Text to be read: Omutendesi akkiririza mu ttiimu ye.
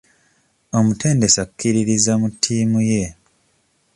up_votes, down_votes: 2, 0